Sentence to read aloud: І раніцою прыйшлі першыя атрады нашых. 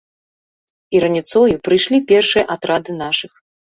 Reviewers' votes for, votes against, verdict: 2, 0, accepted